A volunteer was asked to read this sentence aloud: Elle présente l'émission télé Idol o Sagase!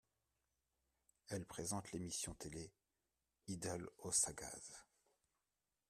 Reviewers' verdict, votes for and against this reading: rejected, 0, 2